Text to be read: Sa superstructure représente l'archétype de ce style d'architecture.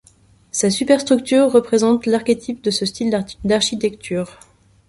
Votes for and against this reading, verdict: 1, 2, rejected